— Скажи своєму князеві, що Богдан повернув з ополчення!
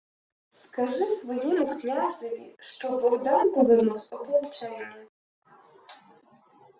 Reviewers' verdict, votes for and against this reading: rejected, 1, 2